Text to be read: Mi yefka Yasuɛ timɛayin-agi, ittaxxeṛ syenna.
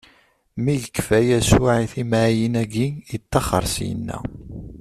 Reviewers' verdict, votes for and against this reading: rejected, 1, 2